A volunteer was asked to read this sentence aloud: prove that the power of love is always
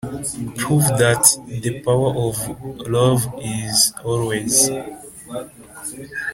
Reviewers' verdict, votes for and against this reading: rejected, 0, 2